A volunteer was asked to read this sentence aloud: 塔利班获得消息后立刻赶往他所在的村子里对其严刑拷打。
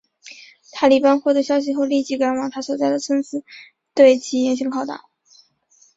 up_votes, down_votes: 0, 2